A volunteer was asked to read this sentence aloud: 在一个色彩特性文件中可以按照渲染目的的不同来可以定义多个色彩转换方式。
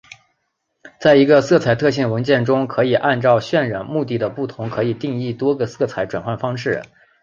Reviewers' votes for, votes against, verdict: 2, 0, accepted